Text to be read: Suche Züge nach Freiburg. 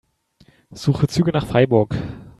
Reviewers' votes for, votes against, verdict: 3, 0, accepted